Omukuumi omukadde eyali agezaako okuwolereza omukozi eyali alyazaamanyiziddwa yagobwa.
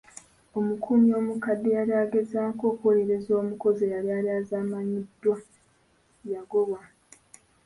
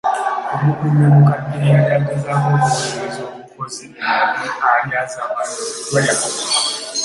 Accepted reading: first